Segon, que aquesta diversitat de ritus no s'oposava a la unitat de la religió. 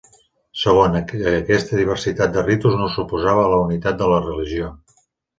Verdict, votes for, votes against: rejected, 0, 2